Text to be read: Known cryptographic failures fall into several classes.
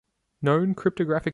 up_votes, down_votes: 0, 2